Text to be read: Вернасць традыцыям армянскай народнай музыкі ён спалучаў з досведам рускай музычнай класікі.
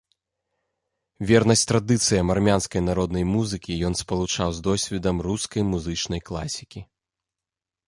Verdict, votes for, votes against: accepted, 2, 0